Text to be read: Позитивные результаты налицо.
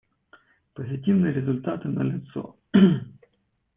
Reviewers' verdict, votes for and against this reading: rejected, 0, 2